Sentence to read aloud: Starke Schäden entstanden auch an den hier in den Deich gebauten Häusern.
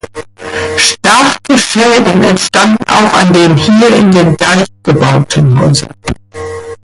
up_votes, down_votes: 0, 2